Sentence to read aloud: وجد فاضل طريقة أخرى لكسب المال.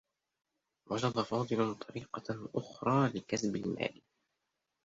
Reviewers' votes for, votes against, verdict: 1, 2, rejected